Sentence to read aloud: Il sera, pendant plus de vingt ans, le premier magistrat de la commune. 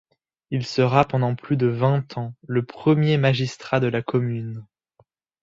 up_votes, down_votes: 2, 0